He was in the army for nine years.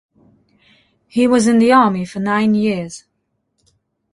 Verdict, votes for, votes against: accepted, 2, 0